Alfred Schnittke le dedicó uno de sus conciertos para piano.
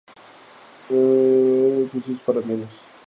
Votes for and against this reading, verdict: 0, 2, rejected